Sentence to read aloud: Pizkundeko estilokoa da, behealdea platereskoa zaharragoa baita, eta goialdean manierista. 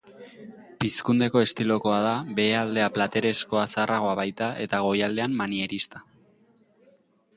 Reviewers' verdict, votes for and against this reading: accepted, 4, 0